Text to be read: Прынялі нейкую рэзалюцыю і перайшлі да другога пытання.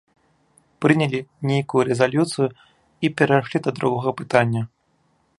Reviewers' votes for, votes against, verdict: 0, 2, rejected